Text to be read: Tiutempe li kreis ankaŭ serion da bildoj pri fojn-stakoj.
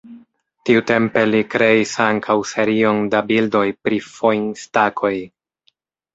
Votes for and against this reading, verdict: 0, 2, rejected